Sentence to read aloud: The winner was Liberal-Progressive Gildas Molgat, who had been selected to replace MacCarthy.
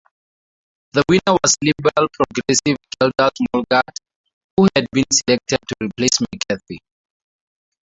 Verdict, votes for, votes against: rejected, 0, 2